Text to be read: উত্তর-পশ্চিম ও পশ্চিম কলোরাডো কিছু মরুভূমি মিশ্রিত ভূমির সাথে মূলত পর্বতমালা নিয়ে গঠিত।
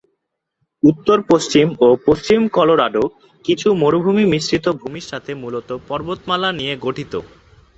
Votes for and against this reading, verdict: 2, 0, accepted